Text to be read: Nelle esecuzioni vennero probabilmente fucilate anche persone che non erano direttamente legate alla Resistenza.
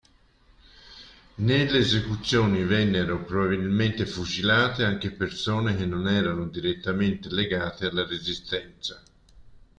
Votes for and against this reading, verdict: 1, 2, rejected